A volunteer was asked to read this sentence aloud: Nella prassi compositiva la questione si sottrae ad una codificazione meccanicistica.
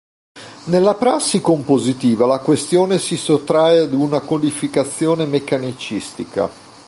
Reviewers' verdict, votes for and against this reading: accepted, 2, 0